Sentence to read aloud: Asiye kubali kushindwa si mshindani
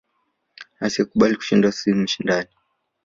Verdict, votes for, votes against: accepted, 2, 1